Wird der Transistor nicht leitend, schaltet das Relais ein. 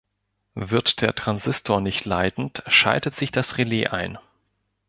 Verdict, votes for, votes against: rejected, 0, 2